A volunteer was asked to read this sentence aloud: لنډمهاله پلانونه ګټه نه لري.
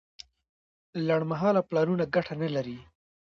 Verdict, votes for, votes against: rejected, 1, 2